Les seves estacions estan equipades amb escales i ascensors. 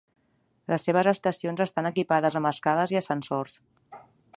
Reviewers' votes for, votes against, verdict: 3, 0, accepted